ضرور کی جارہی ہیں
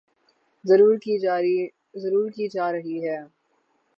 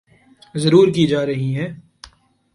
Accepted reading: second